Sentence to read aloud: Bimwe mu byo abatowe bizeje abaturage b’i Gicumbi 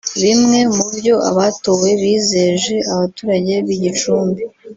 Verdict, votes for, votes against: rejected, 0, 2